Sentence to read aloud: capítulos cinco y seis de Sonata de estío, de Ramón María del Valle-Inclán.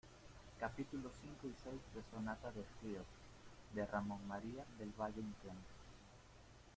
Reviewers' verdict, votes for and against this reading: rejected, 1, 2